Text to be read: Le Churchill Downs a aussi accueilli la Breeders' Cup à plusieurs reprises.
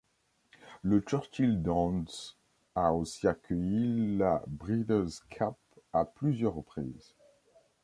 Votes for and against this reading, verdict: 2, 1, accepted